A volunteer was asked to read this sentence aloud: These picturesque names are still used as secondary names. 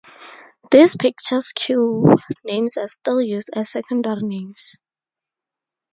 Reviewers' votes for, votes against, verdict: 0, 2, rejected